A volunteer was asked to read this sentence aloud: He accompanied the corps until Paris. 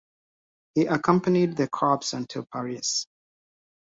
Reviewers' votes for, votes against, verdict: 1, 2, rejected